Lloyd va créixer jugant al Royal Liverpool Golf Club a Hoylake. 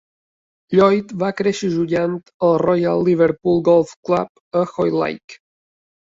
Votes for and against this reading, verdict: 0, 3, rejected